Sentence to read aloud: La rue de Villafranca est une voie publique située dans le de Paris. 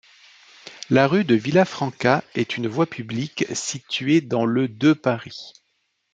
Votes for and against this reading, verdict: 2, 0, accepted